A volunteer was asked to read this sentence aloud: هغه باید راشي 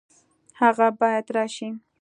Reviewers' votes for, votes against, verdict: 2, 0, accepted